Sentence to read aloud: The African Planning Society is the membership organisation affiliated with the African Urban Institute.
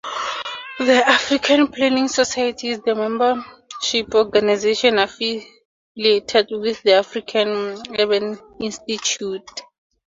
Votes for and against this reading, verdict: 0, 2, rejected